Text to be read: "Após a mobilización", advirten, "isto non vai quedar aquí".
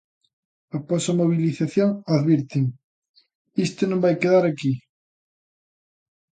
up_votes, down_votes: 2, 0